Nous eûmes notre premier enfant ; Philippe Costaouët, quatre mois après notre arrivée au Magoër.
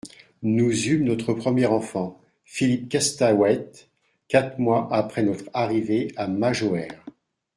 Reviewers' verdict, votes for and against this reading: rejected, 1, 2